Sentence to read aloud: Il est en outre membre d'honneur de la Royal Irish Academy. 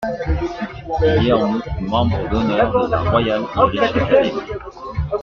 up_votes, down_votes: 2, 1